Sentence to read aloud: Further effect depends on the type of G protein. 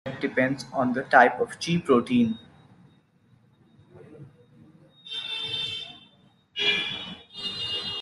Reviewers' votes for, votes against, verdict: 0, 2, rejected